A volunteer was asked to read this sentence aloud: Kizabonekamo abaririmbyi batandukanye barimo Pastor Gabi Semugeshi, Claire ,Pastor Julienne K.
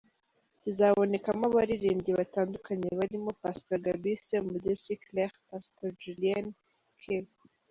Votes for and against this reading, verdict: 1, 2, rejected